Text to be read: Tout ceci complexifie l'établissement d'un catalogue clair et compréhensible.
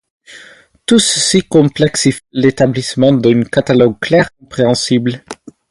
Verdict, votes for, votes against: accepted, 2, 0